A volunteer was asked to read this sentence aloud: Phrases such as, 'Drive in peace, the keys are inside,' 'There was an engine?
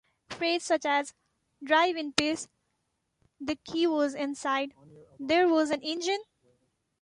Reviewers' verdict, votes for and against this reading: rejected, 0, 3